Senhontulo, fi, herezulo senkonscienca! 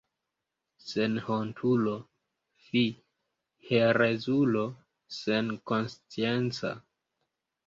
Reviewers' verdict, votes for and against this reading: rejected, 0, 2